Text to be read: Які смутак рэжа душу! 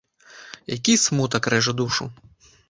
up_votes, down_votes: 2, 0